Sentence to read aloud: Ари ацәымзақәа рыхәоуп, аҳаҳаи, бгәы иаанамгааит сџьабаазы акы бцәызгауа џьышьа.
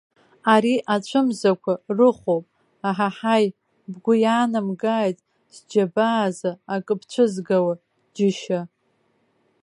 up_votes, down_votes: 2, 0